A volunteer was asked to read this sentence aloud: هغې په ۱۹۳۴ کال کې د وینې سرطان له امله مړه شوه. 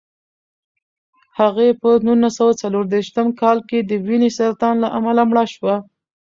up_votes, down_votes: 0, 2